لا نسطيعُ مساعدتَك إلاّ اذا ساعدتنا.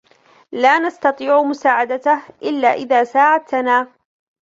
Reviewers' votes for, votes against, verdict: 2, 1, accepted